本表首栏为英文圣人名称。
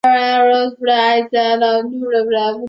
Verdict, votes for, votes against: rejected, 1, 2